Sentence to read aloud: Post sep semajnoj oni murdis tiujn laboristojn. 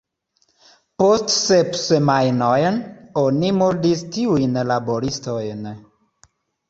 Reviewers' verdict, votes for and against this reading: accepted, 2, 0